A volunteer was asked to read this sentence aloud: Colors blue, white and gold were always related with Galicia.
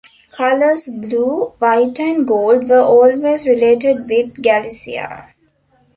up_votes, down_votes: 2, 0